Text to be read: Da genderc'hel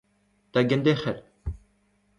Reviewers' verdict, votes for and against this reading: accepted, 2, 0